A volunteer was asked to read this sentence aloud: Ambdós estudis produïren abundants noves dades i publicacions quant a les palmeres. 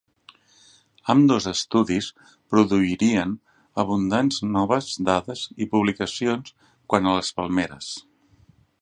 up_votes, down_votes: 0, 2